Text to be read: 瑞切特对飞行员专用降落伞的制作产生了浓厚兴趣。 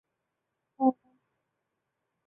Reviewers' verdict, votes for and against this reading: rejected, 0, 3